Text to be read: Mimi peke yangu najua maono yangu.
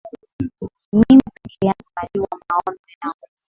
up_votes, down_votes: 3, 1